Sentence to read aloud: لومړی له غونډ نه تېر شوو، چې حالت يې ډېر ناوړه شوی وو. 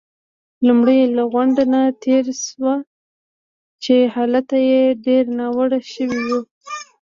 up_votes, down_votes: 0, 2